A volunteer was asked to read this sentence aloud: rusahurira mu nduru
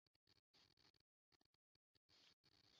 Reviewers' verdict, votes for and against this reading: rejected, 0, 2